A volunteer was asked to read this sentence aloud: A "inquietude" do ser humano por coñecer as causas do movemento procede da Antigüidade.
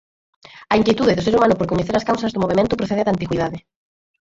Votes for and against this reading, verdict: 0, 4, rejected